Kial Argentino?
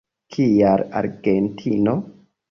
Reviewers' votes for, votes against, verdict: 3, 0, accepted